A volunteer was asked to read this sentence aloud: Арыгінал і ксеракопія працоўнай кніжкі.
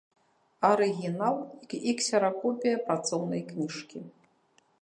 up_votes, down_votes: 2, 0